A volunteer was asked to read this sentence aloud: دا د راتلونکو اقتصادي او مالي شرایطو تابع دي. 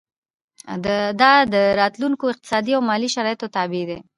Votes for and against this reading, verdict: 2, 0, accepted